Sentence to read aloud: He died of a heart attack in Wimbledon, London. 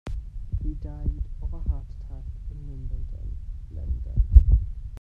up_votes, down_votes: 0, 2